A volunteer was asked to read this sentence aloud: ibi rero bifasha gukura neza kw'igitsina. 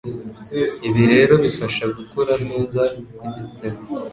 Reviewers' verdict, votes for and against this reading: accepted, 2, 0